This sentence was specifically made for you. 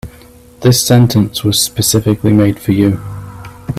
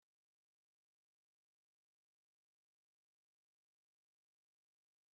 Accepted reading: first